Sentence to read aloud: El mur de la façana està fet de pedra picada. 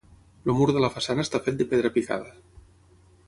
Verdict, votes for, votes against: rejected, 0, 6